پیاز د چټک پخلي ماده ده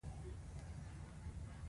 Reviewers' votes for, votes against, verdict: 1, 2, rejected